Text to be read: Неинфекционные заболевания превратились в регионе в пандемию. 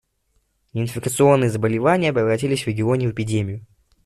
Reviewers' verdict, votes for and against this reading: rejected, 0, 2